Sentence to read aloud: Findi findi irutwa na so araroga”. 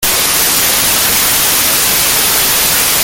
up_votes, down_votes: 0, 2